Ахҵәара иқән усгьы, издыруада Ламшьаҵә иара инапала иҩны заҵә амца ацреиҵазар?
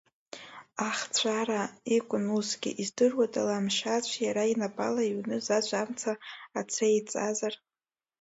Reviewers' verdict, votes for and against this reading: rejected, 1, 2